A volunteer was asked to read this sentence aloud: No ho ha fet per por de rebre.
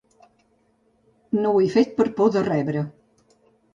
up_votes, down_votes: 1, 2